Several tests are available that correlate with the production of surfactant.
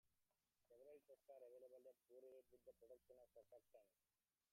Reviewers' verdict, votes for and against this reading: rejected, 1, 2